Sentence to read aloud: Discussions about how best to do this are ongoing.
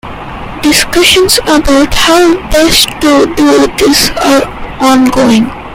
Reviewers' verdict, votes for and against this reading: rejected, 0, 2